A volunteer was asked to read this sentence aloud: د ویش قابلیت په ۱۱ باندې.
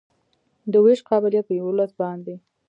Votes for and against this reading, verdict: 0, 2, rejected